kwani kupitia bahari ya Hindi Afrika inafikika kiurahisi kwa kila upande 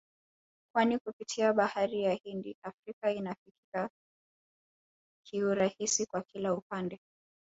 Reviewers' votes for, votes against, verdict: 0, 2, rejected